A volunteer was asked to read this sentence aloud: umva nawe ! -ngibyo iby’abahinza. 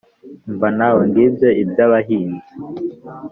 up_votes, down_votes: 1, 2